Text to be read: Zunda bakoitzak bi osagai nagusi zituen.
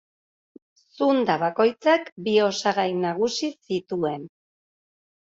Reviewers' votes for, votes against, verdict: 2, 0, accepted